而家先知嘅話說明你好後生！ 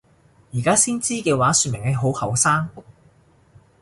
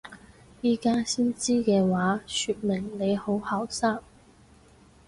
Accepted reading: first